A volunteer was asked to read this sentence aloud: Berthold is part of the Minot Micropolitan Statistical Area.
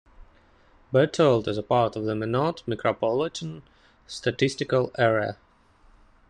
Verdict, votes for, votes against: rejected, 0, 2